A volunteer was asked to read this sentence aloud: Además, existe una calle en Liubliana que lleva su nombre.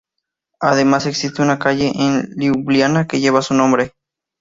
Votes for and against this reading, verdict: 4, 0, accepted